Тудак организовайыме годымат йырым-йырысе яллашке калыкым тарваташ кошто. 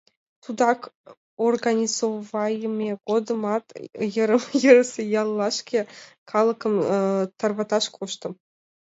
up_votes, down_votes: 0, 2